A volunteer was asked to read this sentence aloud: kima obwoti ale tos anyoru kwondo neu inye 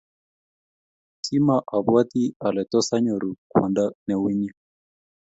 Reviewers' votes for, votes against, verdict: 2, 0, accepted